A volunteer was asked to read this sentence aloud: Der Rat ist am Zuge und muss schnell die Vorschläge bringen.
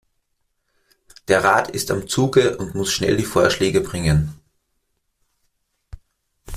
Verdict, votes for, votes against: accepted, 2, 0